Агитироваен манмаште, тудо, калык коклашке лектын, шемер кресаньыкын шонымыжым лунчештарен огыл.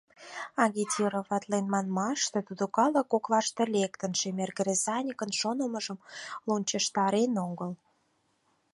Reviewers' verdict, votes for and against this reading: rejected, 2, 4